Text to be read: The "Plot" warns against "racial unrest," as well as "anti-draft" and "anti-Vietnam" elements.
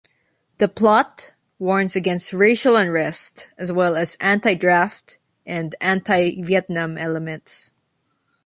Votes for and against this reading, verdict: 2, 0, accepted